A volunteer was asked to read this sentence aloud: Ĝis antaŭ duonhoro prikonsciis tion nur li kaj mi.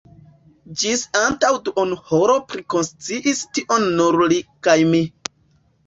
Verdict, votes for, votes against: rejected, 1, 2